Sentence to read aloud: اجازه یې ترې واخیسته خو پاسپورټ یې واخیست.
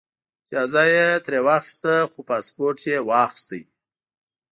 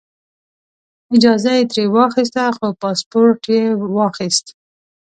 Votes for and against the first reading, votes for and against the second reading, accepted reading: 0, 2, 2, 0, second